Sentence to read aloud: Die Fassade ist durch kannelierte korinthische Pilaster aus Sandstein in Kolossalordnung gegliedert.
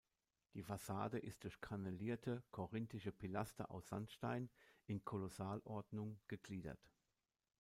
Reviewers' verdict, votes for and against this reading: rejected, 0, 2